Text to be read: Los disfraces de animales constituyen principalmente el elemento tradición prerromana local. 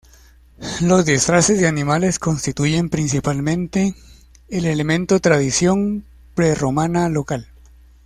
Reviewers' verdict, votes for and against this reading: accepted, 2, 0